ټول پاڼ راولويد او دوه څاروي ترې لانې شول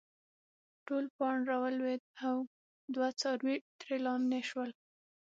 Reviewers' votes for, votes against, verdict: 3, 6, rejected